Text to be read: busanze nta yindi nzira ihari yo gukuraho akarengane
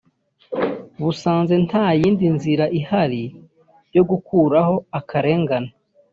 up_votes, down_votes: 2, 0